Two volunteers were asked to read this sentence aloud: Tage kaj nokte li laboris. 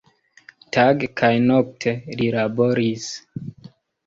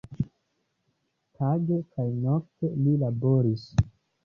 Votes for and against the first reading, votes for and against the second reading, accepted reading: 1, 2, 2, 0, second